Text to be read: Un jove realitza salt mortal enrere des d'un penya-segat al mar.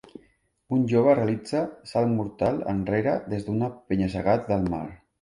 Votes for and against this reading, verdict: 1, 3, rejected